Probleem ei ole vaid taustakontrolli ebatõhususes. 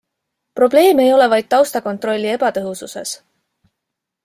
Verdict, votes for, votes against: accepted, 2, 0